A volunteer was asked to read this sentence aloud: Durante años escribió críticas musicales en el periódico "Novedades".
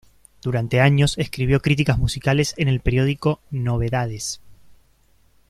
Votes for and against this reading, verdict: 2, 0, accepted